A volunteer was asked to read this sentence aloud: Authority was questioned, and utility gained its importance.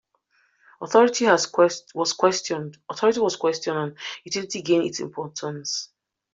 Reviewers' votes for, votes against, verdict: 0, 2, rejected